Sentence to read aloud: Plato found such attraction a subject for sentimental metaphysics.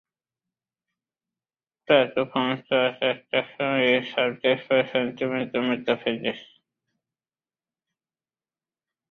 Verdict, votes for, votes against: rejected, 0, 2